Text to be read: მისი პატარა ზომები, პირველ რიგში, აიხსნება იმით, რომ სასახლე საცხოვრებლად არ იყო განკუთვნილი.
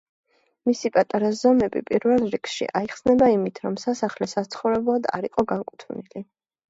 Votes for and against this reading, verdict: 2, 1, accepted